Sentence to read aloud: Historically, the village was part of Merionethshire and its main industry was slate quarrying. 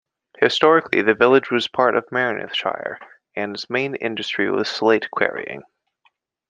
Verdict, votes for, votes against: rejected, 0, 2